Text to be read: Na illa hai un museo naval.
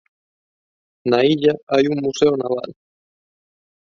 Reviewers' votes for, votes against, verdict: 0, 2, rejected